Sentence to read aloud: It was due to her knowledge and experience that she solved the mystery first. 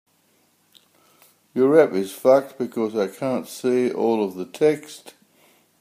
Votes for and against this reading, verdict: 0, 2, rejected